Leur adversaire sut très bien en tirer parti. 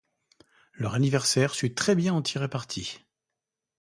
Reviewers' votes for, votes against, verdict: 0, 2, rejected